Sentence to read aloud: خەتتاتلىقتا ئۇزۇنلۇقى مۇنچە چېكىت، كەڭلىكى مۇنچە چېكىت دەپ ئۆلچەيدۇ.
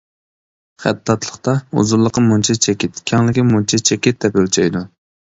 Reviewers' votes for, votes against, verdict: 2, 0, accepted